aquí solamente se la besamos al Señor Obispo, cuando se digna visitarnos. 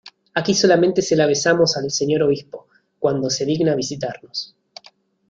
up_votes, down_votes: 2, 0